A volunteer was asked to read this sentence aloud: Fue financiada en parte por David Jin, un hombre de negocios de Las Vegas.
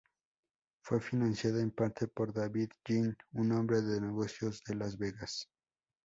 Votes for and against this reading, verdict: 8, 0, accepted